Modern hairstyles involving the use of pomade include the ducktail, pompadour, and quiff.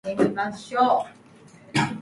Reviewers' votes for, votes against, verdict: 0, 2, rejected